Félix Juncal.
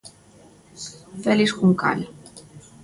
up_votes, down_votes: 2, 0